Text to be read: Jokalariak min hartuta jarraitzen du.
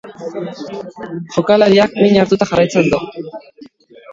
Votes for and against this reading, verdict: 1, 2, rejected